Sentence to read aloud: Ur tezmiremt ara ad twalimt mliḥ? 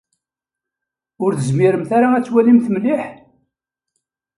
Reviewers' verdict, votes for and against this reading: accepted, 2, 0